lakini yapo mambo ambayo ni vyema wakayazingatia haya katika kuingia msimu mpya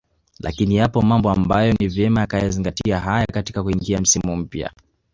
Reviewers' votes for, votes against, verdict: 2, 0, accepted